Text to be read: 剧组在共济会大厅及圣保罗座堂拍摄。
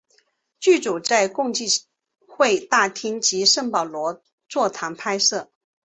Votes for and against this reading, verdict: 9, 0, accepted